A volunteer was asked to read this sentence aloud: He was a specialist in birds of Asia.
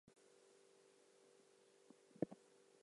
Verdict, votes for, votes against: rejected, 0, 4